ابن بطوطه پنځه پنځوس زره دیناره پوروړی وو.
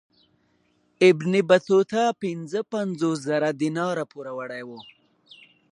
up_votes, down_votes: 0, 2